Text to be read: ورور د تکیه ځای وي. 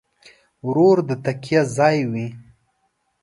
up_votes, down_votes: 2, 0